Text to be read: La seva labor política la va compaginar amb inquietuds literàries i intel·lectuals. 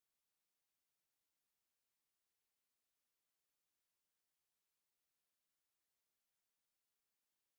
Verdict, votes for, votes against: rejected, 0, 2